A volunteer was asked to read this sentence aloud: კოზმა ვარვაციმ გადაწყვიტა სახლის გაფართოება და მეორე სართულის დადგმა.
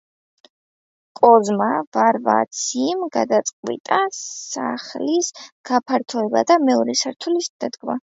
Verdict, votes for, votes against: rejected, 0, 2